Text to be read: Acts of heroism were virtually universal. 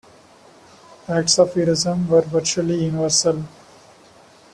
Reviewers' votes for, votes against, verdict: 3, 1, accepted